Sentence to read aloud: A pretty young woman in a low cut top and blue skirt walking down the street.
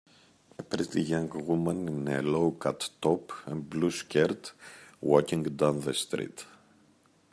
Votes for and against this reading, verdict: 1, 2, rejected